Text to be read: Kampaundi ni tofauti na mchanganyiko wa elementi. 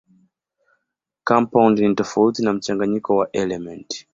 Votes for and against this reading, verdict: 2, 1, accepted